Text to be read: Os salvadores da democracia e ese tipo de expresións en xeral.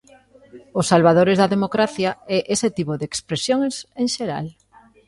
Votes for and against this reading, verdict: 2, 0, accepted